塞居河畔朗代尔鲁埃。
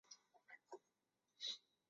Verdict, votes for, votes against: rejected, 1, 2